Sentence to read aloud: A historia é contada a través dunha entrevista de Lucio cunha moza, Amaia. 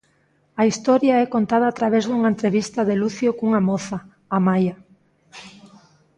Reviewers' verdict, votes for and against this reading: accepted, 2, 0